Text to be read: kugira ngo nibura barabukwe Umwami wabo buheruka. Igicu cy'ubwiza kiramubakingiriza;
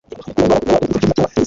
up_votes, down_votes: 0, 2